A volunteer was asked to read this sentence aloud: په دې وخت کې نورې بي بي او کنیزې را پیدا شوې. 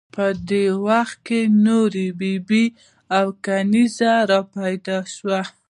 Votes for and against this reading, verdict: 2, 0, accepted